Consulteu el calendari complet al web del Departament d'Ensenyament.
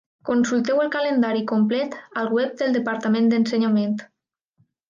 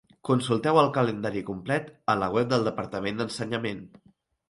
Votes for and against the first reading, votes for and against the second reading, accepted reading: 2, 0, 0, 2, first